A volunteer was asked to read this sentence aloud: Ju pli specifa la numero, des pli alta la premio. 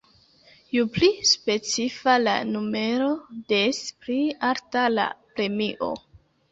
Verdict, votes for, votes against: accepted, 2, 1